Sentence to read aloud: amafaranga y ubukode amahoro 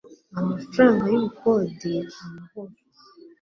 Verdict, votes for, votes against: accepted, 2, 0